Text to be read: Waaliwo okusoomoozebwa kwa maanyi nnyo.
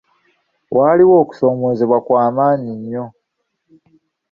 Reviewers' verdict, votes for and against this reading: rejected, 1, 2